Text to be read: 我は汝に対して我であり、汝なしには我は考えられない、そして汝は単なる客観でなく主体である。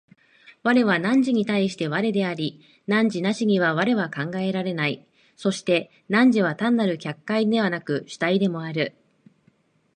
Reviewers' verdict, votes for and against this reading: rejected, 0, 2